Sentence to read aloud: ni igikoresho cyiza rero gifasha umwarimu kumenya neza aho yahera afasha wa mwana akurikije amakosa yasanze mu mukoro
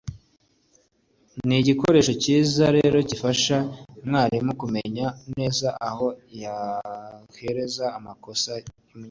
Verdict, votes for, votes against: rejected, 1, 2